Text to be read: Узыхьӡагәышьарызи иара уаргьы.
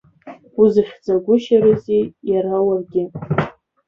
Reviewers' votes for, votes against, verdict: 0, 2, rejected